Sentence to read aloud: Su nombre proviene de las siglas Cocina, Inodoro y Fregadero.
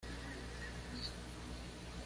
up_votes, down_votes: 1, 2